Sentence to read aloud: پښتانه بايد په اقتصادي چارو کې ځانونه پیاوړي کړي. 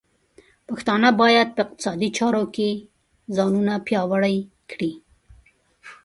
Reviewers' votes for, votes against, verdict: 2, 1, accepted